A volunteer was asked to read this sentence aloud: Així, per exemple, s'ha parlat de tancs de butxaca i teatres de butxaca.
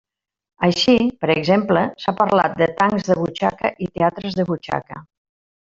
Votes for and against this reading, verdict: 1, 2, rejected